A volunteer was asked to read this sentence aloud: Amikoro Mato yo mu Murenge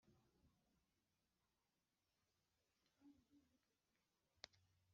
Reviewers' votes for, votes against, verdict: 1, 3, rejected